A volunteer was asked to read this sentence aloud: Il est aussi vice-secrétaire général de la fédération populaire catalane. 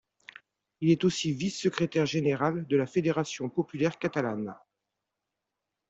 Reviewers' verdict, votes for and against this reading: accepted, 2, 0